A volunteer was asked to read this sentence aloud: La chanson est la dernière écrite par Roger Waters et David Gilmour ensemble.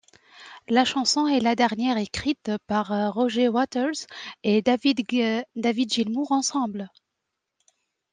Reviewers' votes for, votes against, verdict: 0, 2, rejected